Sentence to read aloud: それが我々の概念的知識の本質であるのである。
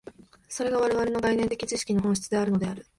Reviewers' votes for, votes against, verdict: 1, 2, rejected